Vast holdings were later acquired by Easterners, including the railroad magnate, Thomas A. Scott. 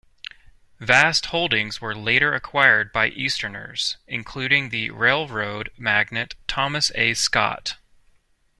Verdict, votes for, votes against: accepted, 2, 0